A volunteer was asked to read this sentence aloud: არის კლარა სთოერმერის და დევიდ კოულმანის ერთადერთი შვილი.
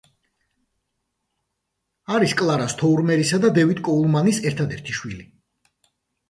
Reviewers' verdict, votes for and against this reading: accepted, 2, 1